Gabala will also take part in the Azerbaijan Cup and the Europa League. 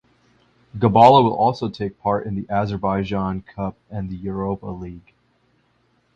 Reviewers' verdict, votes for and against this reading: accepted, 2, 0